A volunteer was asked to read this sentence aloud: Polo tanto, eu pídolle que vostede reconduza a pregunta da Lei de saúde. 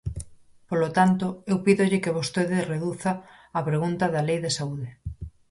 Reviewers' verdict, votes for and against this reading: rejected, 0, 4